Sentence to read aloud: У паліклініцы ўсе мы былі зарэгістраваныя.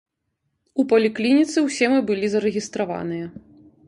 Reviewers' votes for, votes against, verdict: 2, 0, accepted